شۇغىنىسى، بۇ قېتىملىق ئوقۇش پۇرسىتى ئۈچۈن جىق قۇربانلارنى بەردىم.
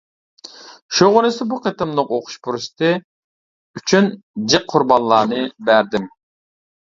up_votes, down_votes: 0, 2